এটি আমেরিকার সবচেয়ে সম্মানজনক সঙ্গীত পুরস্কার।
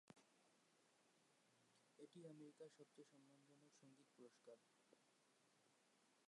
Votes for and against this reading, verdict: 1, 2, rejected